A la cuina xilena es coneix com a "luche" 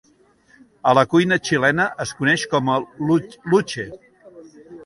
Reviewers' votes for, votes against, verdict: 1, 2, rejected